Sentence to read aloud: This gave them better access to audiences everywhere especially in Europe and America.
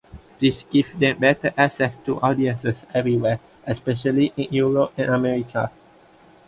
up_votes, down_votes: 2, 0